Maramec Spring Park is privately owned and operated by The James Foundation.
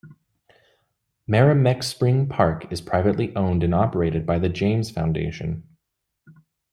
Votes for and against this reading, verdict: 2, 0, accepted